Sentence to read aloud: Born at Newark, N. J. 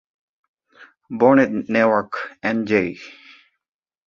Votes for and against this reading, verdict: 0, 2, rejected